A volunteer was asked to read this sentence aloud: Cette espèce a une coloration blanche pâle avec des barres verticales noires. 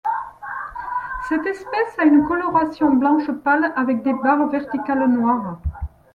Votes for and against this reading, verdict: 2, 0, accepted